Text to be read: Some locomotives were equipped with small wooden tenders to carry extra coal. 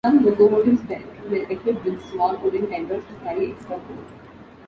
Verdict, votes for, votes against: rejected, 0, 3